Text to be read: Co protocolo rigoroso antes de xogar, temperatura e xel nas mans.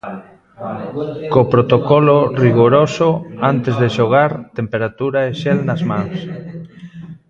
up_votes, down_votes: 0, 2